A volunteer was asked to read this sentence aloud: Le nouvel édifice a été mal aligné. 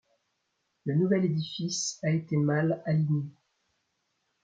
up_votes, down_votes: 2, 0